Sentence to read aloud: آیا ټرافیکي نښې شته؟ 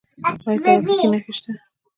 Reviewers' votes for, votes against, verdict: 1, 2, rejected